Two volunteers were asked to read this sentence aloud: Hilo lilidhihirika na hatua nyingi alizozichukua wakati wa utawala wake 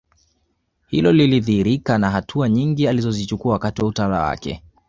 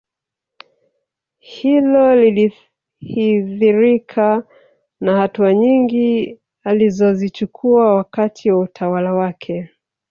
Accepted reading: first